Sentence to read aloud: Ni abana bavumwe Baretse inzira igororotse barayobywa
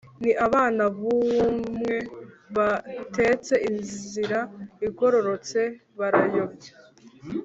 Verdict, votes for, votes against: rejected, 1, 2